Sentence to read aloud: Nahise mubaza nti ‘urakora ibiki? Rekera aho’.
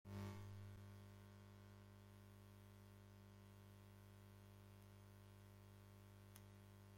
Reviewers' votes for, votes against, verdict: 0, 2, rejected